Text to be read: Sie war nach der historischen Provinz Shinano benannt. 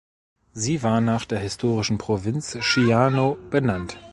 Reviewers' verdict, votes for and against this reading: rejected, 1, 2